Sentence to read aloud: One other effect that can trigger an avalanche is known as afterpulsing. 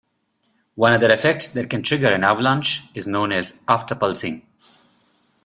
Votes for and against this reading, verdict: 2, 0, accepted